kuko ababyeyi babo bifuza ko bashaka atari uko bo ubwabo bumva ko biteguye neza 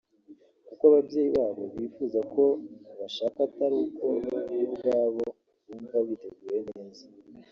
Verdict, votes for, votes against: rejected, 1, 3